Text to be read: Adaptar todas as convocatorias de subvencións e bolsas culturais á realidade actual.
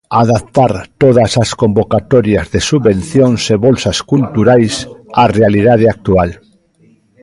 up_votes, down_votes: 1, 2